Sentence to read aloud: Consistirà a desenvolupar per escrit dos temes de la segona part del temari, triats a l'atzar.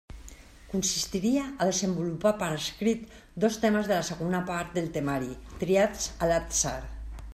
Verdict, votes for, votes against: rejected, 0, 2